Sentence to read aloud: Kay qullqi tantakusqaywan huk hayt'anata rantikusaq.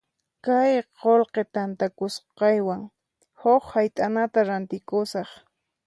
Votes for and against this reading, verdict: 4, 0, accepted